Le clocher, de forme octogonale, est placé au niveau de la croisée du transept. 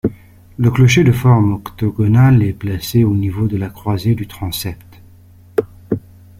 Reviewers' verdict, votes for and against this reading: accepted, 2, 0